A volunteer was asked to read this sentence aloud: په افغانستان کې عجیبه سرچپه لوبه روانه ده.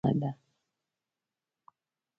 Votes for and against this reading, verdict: 1, 2, rejected